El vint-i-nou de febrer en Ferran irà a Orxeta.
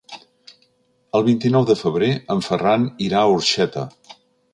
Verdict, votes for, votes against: accepted, 4, 0